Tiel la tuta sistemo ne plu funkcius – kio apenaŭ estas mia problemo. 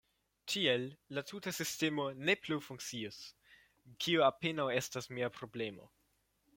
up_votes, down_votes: 2, 1